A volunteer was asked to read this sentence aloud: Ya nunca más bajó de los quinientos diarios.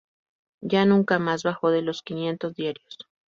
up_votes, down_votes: 2, 0